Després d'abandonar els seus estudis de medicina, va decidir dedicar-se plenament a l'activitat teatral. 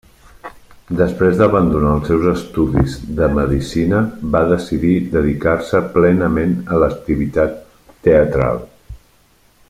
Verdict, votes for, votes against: rejected, 1, 2